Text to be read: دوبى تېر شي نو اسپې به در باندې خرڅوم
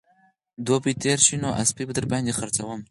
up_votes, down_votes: 0, 4